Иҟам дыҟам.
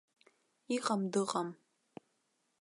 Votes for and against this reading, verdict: 2, 0, accepted